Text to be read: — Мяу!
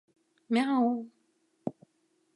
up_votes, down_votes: 2, 0